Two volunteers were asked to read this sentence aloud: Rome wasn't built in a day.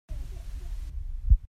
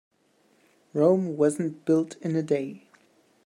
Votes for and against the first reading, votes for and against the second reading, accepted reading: 0, 2, 2, 0, second